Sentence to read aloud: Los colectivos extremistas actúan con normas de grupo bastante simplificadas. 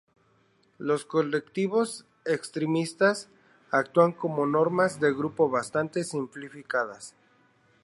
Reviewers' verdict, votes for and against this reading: rejected, 0, 2